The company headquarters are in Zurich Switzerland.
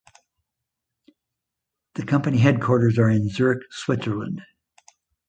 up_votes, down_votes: 2, 0